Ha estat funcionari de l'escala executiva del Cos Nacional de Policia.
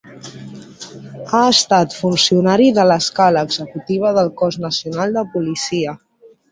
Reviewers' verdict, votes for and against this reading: accepted, 3, 0